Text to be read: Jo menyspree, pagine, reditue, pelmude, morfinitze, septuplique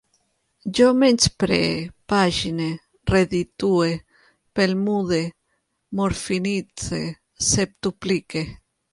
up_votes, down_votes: 1, 2